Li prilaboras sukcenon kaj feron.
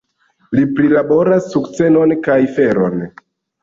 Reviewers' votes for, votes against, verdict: 2, 0, accepted